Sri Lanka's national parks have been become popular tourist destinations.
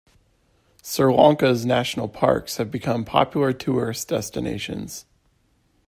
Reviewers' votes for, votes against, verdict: 2, 0, accepted